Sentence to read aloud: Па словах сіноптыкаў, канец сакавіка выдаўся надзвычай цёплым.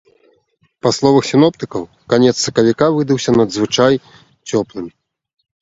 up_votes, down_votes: 1, 2